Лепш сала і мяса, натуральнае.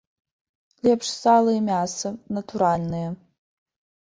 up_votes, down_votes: 2, 1